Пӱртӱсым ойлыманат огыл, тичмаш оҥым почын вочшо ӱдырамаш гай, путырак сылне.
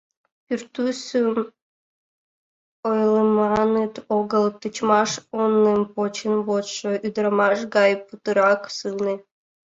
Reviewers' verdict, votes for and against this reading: rejected, 1, 2